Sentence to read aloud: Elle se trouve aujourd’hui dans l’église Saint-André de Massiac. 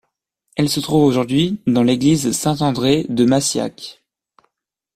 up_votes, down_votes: 2, 0